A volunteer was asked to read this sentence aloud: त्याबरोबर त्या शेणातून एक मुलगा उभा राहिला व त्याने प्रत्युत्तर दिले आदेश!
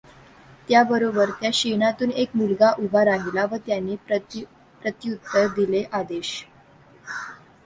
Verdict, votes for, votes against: rejected, 1, 2